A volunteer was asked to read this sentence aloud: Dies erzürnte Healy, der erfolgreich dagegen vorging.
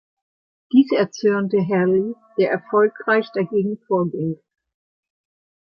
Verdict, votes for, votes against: accepted, 2, 0